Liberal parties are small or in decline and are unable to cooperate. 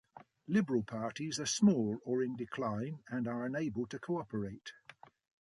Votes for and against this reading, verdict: 2, 0, accepted